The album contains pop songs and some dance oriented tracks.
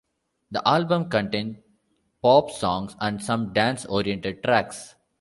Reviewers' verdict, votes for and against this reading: accepted, 2, 0